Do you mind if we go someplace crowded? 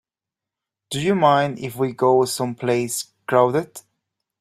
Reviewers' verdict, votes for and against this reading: accepted, 2, 0